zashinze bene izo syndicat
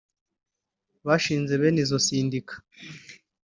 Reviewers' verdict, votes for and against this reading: rejected, 0, 2